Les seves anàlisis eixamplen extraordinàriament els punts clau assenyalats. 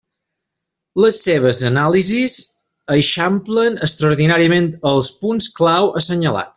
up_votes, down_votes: 3, 0